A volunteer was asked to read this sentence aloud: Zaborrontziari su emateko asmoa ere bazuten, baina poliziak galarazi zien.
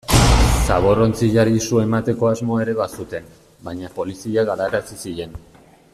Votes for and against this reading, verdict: 1, 2, rejected